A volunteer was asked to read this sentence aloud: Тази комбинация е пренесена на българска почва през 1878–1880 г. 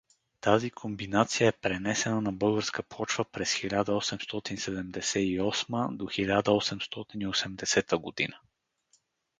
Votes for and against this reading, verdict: 0, 2, rejected